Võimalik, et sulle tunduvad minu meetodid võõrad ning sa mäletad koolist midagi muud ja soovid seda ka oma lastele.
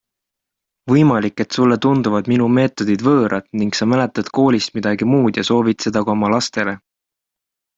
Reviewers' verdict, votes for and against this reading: accepted, 2, 0